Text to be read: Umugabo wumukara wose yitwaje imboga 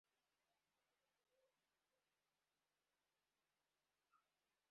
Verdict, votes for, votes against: rejected, 1, 2